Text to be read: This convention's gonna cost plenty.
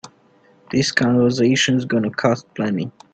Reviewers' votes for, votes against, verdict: 0, 2, rejected